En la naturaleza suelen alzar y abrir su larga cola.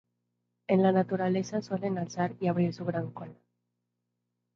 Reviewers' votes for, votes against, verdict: 0, 2, rejected